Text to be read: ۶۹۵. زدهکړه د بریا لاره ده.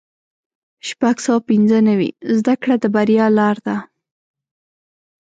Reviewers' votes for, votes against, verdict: 0, 2, rejected